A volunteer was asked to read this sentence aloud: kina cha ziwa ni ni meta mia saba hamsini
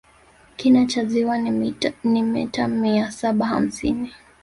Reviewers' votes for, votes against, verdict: 3, 2, accepted